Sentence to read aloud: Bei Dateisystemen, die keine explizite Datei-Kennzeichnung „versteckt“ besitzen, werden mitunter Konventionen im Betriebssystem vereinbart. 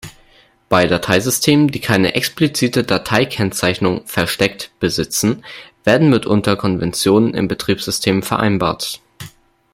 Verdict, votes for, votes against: accepted, 2, 0